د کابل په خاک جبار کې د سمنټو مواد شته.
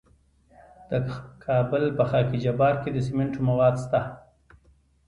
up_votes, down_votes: 1, 2